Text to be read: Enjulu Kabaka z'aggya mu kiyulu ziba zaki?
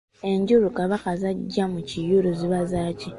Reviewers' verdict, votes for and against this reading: accepted, 2, 0